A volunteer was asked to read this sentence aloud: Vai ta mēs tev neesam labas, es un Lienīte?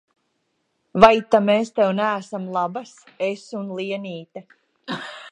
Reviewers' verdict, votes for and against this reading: accepted, 2, 0